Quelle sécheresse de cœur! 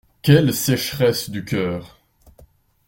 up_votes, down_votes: 1, 2